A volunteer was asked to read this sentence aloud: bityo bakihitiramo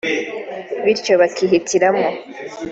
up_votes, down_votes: 3, 0